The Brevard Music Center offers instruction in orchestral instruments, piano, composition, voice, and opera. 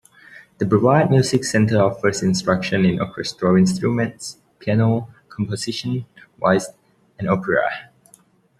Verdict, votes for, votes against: rejected, 1, 2